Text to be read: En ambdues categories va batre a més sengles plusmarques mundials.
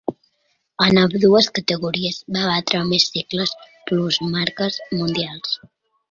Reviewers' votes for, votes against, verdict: 2, 1, accepted